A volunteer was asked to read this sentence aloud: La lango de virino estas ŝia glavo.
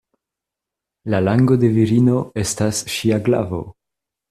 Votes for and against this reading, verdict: 2, 0, accepted